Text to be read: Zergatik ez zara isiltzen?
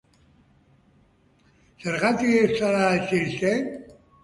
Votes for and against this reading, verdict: 2, 2, rejected